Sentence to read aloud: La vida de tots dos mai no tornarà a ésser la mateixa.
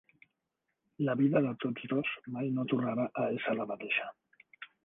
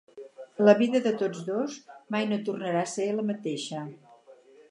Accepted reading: first